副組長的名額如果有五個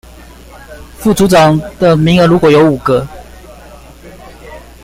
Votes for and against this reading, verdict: 2, 0, accepted